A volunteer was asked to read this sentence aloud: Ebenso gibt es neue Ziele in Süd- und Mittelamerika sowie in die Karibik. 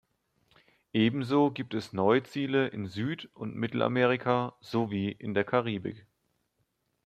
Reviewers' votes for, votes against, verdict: 1, 2, rejected